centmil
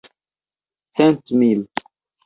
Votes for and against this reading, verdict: 1, 2, rejected